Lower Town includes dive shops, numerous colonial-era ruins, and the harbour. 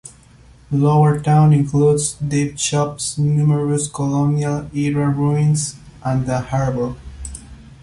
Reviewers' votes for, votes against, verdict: 0, 2, rejected